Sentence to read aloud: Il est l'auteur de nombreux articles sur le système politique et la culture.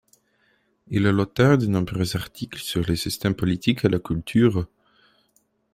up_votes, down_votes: 2, 1